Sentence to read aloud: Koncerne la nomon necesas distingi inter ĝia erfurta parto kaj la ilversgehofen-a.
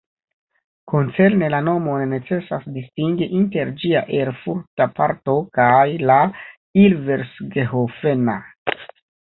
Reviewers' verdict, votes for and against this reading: accepted, 2, 1